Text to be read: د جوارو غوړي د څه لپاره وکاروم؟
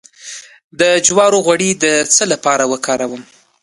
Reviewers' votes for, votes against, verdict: 2, 1, accepted